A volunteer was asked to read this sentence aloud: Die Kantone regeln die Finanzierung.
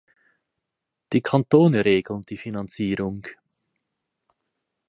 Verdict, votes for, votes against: accepted, 4, 0